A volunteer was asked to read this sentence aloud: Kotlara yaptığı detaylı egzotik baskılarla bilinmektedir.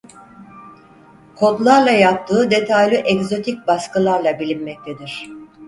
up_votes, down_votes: 2, 4